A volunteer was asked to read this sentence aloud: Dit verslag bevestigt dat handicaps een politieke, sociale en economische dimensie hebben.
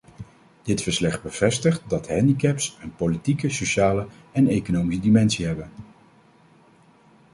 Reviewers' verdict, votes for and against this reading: rejected, 0, 2